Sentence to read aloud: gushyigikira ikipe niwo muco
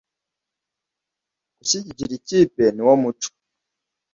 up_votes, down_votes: 2, 0